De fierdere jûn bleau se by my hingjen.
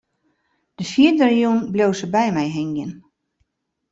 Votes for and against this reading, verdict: 1, 2, rejected